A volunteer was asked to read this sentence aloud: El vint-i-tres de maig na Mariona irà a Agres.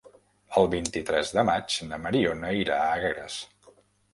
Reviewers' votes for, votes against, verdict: 0, 2, rejected